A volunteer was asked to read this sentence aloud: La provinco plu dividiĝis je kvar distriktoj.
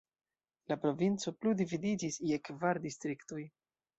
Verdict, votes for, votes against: accepted, 2, 1